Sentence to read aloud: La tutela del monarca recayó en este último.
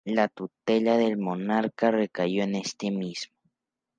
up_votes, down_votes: 0, 2